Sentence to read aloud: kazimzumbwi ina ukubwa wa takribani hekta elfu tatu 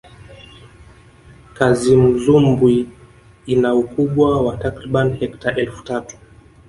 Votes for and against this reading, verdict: 1, 2, rejected